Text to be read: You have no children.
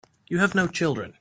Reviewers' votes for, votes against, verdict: 4, 0, accepted